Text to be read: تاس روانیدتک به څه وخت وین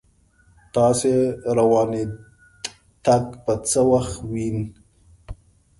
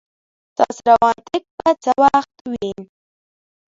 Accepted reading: first